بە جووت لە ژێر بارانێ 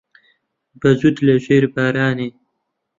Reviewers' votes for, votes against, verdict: 0, 2, rejected